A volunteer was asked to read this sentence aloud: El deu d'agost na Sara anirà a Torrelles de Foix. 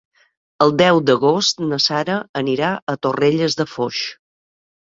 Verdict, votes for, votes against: accepted, 3, 0